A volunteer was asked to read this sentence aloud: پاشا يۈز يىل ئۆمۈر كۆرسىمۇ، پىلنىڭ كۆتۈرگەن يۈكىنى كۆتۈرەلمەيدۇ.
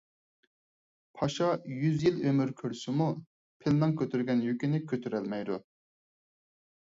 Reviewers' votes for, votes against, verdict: 4, 0, accepted